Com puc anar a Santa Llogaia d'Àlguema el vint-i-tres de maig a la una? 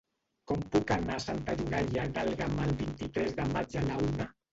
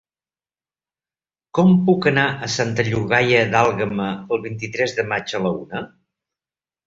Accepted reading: second